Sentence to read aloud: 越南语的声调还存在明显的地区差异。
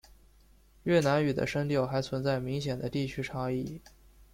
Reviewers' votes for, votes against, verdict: 3, 0, accepted